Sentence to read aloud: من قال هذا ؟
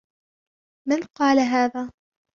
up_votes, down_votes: 2, 0